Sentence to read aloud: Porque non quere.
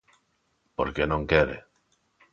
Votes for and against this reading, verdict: 2, 0, accepted